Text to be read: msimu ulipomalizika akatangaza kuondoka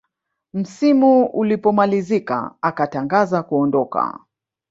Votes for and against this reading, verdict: 1, 2, rejected